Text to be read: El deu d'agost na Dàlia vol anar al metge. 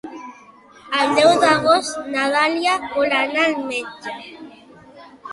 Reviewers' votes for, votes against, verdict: 2, 0, accepted